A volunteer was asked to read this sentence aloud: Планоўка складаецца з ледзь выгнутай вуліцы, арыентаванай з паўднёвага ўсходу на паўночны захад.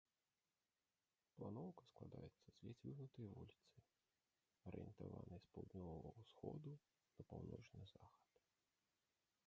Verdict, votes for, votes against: rejected, 0, 2